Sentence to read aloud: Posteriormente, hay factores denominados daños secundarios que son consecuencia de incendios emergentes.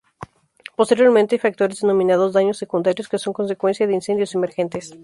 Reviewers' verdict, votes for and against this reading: rejected, 0, 2